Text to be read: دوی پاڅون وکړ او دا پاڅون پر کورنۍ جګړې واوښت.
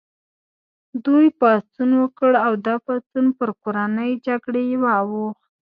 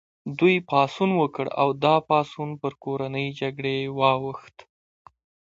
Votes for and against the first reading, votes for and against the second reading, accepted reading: 1, 2, 2, 0, second